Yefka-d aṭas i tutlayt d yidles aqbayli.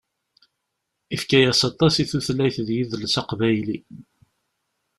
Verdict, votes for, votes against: rejected, 1, 2